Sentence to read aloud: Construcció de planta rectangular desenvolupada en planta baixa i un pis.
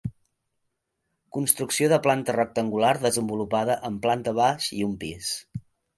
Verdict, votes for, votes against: rejected, 1, 2